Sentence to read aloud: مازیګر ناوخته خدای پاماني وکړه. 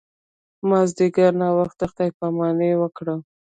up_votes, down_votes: 1, 2